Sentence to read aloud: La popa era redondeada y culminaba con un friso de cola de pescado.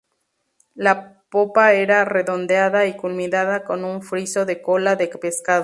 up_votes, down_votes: 2, 0